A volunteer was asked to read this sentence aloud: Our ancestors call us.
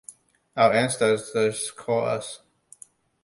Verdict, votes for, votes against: rejected, 0, 2